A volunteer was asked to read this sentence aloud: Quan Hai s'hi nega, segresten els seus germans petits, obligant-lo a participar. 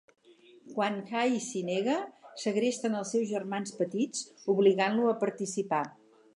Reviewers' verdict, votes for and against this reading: accepted, 4, 0